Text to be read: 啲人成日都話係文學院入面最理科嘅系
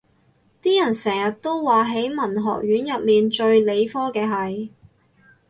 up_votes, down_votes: 2, 4